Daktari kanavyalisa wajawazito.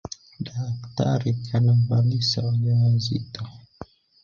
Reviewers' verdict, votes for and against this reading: accepted, 3, 1